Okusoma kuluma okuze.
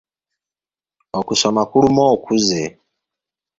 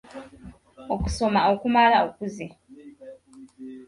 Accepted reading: first